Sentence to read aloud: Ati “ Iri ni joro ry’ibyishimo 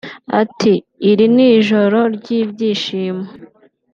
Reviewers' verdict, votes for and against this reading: accepted, 2, 0